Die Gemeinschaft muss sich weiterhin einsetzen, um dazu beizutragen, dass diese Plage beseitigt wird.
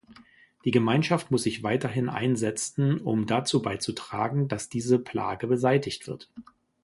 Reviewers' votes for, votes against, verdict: 0, 2, rejected